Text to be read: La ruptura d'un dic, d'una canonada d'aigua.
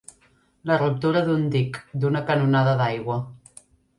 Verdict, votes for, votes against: accepted, 3, 0